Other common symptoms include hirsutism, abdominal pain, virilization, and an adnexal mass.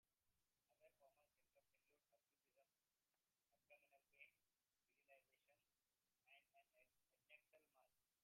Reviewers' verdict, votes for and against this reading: rejected, 0, 2